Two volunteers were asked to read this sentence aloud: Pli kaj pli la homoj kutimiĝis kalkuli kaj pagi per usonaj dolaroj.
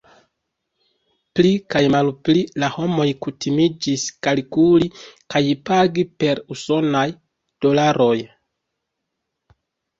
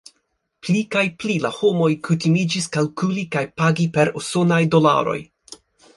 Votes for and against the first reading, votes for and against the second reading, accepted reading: 1, 2, 2, 1, second